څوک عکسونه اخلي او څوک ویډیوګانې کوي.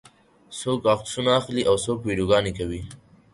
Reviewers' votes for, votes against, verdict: 4, 0, accepted